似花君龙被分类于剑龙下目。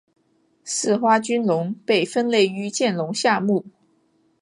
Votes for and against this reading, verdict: 2, 0, accepted